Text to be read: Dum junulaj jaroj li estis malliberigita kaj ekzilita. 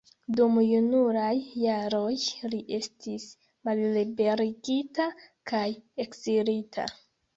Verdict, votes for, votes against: accepted, 2, 0